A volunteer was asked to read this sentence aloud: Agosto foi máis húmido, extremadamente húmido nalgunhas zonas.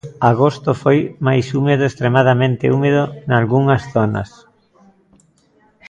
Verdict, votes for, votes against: rejected, 0, 2